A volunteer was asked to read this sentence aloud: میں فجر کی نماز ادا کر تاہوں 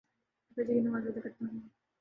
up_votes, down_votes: 0, 2